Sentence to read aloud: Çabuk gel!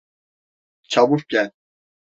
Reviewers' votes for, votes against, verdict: 2, 0, accepted